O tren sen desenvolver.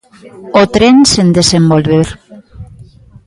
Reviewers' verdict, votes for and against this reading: accepted, 2, 0